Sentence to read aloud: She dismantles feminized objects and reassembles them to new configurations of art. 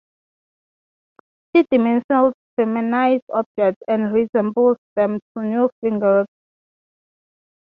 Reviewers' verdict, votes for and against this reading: rejected, 0, 3